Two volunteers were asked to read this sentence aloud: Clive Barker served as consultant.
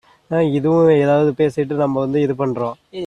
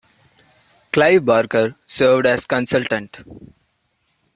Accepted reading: second